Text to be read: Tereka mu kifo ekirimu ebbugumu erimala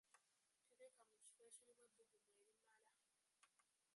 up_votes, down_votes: 0, 2